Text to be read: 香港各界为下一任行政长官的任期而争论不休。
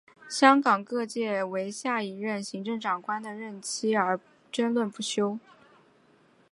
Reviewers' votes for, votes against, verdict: 2, 0, accepted